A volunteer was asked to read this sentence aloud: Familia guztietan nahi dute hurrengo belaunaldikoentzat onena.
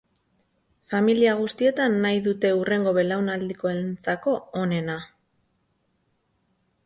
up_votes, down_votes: 0, 4